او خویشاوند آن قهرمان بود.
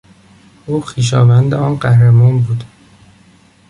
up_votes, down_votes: 3, 0